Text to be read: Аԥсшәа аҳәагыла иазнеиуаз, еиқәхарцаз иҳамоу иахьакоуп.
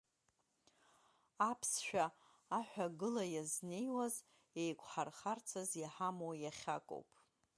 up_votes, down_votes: 3, 2